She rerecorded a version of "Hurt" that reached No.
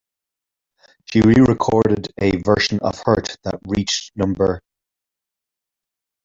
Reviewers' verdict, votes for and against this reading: rejected, 1, 2